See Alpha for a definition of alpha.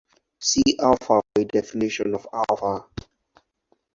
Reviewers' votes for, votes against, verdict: 2, 4, rejected